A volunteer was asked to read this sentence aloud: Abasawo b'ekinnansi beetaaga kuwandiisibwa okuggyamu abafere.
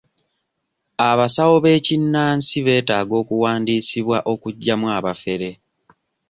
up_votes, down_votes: 0, 2